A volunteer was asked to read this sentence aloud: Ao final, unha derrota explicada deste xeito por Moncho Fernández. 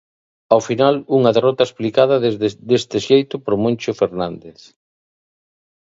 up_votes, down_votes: 1, 2